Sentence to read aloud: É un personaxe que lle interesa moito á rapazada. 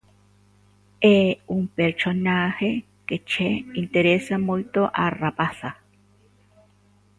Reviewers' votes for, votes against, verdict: 0, 2, rejected